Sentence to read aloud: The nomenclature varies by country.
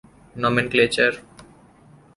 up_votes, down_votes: 0, 2